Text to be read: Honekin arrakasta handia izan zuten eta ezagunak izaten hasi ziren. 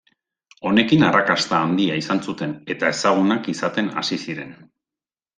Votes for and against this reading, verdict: 2, 0, accepted